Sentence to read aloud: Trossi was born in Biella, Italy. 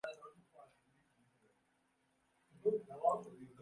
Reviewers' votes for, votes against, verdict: 0, 3, rejected